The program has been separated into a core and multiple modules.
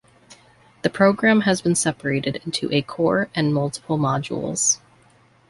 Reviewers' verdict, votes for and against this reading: accepted, 2, 0